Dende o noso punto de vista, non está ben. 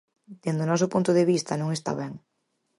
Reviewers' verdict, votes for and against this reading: accepted, 4, 0